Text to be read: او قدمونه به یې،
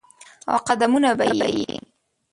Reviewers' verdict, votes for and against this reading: rejected, 1, 2